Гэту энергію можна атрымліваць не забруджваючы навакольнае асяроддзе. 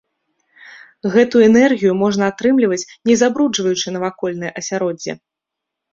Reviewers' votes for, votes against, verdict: 2, 0, accepted